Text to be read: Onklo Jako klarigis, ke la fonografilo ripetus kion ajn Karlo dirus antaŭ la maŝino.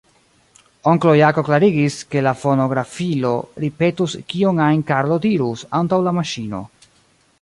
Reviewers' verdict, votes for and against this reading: rejected, 1, 2